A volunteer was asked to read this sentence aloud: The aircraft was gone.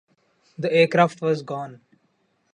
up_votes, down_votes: 2, 0